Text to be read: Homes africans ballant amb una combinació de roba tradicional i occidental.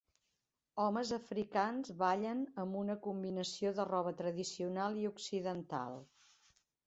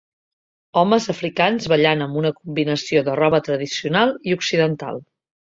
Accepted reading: second